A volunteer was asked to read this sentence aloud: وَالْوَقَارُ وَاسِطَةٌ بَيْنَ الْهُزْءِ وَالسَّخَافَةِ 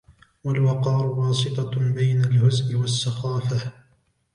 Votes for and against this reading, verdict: 2, 0, accepted